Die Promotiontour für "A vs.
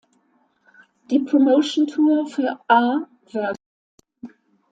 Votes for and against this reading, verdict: 1, 2, rejected